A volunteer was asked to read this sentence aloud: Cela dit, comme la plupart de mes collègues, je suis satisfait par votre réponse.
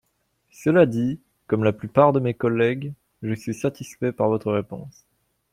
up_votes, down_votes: 2, 0